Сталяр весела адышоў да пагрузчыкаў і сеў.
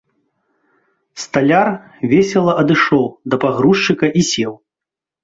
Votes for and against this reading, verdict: 0, 2, rejected